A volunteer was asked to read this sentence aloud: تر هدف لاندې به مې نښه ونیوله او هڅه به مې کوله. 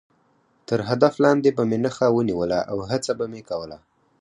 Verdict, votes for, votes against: accepted, 4, 0